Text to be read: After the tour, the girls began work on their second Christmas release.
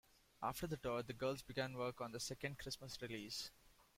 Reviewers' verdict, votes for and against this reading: rejected, 0, 2